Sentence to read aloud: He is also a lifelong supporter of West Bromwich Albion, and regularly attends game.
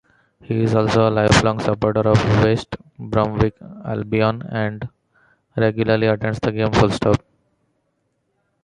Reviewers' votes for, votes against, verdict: 1, 2, rejected